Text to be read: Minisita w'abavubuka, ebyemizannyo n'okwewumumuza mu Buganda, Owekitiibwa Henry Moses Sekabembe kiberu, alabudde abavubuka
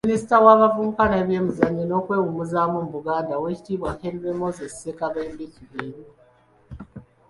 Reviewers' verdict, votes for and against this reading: rejected, 0, 2